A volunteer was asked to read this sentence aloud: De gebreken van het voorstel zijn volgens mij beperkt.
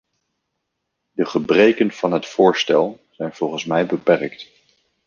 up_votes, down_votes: 2, 0